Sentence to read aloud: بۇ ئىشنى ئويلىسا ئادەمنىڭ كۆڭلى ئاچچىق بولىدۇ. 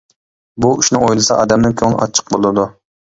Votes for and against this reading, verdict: 3, 0, accepted